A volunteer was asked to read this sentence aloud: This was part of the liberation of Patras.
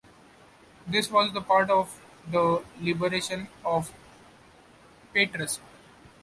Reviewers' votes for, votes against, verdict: 2, 0, accepted